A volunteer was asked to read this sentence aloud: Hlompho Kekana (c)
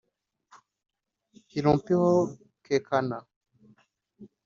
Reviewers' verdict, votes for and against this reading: accepted, 2, 1